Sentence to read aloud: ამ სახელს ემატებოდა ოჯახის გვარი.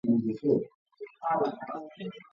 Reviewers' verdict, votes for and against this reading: rejected, 0, 2